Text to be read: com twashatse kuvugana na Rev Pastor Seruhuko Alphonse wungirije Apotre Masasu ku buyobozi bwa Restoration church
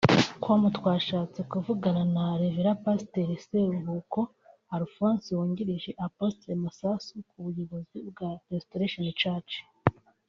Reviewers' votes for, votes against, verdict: 0, 2, rejected